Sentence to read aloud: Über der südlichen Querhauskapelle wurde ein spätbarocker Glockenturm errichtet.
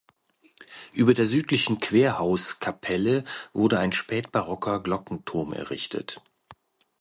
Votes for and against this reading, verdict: 2, 0, accepted